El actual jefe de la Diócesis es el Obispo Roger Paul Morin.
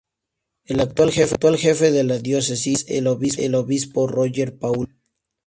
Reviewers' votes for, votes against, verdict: 0, 4, rejected